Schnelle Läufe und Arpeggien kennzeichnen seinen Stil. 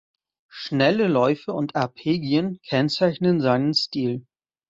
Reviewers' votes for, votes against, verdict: 1, 2, rejected